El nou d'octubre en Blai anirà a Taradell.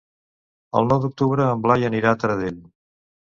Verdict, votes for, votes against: accepted, 2, 0